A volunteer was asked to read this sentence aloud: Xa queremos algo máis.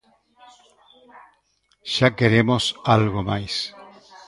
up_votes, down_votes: 0, 2